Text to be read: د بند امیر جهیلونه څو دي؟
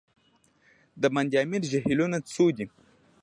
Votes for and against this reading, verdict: 2, 0, accepted